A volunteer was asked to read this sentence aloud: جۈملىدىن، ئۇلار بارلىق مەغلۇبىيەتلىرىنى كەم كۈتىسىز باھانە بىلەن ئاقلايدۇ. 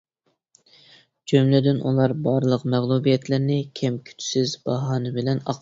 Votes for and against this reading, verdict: 0, 2, rejected